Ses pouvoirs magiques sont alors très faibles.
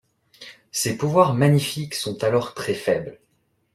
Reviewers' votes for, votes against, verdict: 0, 2, rejected